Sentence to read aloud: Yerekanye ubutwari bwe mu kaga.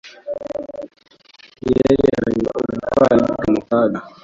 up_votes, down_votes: 1, 2